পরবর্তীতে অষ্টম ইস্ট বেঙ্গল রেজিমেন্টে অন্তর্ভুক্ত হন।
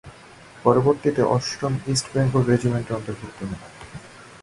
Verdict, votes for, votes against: accepted, 2, 0